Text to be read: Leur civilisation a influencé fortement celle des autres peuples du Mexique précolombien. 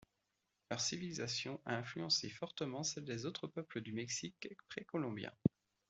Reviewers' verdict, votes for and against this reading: accepted, 2, 0